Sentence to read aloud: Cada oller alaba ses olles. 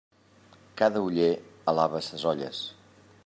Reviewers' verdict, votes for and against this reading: accepted, 2, 0